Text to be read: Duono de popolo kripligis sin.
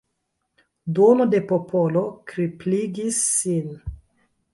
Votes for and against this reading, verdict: 4, 0, accepted